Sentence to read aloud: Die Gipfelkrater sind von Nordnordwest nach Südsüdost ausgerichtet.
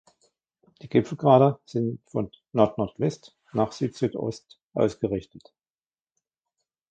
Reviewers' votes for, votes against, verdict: 1, 2, rejected